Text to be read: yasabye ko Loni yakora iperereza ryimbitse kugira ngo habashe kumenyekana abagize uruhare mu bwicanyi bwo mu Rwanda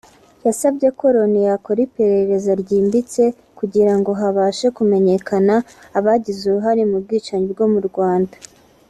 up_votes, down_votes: 2, 0